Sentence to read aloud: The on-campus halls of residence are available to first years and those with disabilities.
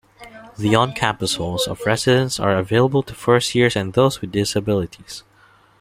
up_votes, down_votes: 1, 2